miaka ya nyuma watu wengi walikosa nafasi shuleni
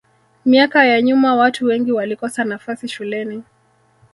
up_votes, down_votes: 0, 2